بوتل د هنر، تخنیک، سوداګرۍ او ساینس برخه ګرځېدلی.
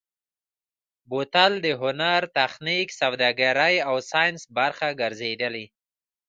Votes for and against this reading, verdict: 0, 2, rejected